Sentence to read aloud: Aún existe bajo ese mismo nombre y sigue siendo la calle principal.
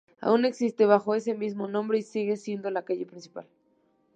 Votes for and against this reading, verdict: 2, 0, accepted